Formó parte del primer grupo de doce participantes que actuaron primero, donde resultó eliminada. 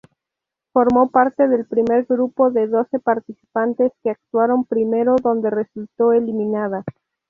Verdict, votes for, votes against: rejected, 2, 2